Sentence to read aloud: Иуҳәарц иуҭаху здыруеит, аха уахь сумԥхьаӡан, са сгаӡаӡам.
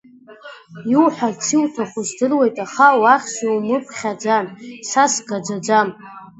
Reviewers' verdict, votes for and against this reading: accepted, 2, 0